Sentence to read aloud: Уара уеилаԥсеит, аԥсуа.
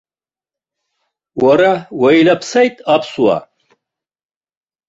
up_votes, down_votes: 2, 1